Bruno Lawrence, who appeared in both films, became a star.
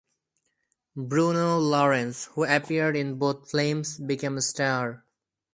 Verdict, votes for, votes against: rejected, 2, 2